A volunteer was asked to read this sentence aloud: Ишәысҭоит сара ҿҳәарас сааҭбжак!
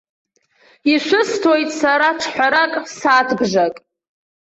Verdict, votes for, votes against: accepted, 2, 0